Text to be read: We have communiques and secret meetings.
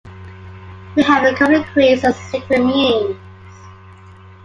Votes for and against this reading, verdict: 0, 2, rejected